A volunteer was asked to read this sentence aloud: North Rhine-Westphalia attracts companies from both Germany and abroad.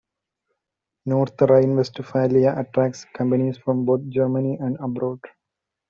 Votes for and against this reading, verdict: 2, 1, accepted